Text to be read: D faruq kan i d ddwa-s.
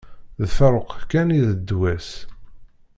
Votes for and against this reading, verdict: 2, 0, accepted